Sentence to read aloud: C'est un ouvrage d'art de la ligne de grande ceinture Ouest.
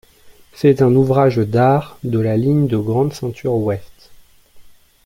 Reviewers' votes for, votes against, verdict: 2, 0, accepted